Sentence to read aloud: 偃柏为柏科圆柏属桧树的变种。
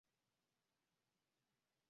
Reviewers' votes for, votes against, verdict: 0, 4, rejected